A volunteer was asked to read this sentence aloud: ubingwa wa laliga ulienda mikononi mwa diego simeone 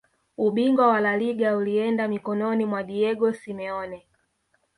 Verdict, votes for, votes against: accepted, 2, 0